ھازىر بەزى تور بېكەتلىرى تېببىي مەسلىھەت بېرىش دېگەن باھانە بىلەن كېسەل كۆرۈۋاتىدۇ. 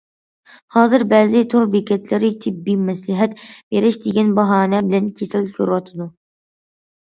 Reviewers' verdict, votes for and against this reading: accepted, 2, 1